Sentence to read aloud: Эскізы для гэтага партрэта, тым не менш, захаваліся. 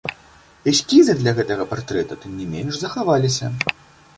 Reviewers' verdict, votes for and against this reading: accepted, 2, 0